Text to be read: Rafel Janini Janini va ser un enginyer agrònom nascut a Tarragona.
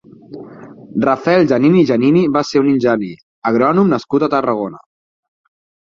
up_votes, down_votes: 4, 6